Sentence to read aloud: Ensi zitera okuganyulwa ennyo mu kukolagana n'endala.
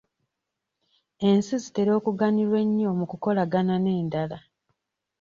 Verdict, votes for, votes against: rejected, 0, 2